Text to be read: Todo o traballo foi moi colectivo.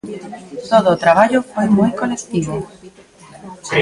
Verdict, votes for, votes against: rejected, 1, 2